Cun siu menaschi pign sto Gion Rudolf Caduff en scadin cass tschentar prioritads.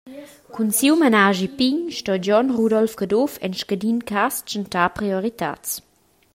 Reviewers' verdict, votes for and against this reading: accepted, 2, 0